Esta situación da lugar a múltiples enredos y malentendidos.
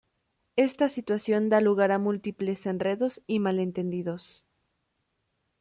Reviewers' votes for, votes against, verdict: 2, 0, accepted